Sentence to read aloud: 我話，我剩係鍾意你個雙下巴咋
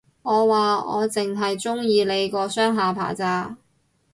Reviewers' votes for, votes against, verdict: 0, 2, rejected